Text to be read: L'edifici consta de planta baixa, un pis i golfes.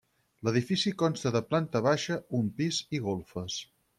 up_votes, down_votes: 6, 0